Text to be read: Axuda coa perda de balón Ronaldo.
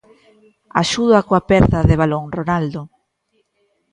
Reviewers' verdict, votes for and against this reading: accepted, 2, 1